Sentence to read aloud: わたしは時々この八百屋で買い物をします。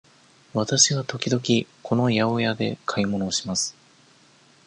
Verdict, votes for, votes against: rejected, 1, 2